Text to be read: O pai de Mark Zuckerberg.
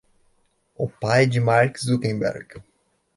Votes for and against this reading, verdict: 0, 2, rejected